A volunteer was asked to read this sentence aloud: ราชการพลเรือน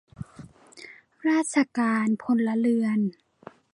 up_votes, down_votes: 2, 0